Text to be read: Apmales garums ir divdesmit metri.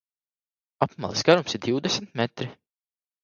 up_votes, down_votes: 1, 2